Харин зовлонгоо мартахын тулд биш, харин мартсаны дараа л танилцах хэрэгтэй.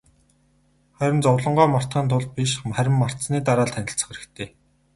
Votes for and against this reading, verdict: 2, 2, rejected